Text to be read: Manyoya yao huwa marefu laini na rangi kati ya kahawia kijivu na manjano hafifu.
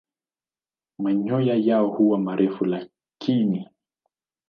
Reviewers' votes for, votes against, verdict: 0, 2, rejected